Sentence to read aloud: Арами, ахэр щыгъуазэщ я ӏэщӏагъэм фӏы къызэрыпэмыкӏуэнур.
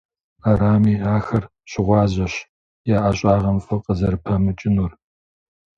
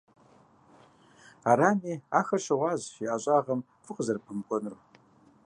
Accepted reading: second